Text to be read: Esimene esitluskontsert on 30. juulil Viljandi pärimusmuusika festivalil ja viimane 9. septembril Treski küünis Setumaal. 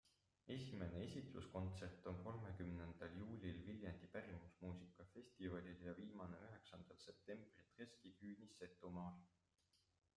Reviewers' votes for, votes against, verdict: 0, 2, rejected